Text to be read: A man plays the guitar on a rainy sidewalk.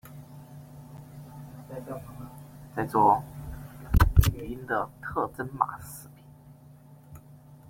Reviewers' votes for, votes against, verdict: 0, 2, rejected